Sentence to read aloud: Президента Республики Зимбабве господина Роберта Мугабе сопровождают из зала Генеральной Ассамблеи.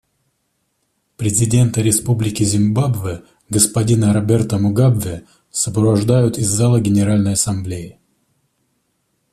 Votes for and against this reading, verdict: 2, 1, accepted